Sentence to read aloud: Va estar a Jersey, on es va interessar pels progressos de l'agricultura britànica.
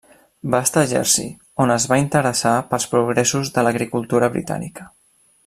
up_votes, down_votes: 3, 0